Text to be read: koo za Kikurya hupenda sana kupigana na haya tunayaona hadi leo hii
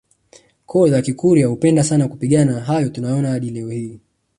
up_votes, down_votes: 3, 1